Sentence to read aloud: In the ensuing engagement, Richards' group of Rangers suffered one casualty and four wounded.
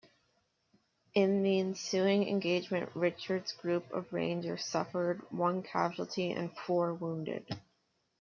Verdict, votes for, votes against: rejected, 0, 2